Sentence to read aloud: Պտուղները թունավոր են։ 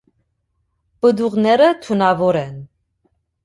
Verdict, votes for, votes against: accepted, 2, 1